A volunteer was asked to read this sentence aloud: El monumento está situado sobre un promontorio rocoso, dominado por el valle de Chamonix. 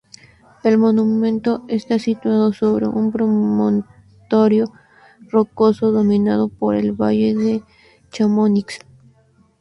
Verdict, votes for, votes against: rejected, 0, 2